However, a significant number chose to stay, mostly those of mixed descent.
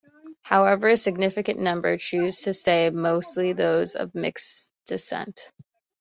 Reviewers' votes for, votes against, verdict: 2, 1, accepted